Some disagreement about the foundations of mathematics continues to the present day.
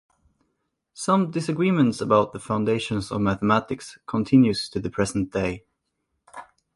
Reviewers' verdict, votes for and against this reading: rejected, 0, 2